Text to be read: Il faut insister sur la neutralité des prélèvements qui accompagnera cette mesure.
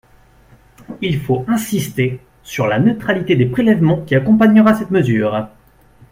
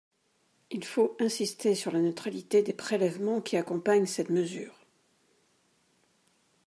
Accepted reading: first